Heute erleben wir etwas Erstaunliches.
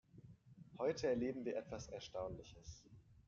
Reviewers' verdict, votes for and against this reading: accepted, 2, 1